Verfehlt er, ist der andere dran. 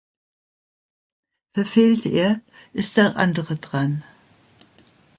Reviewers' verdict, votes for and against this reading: accepted, 2, 0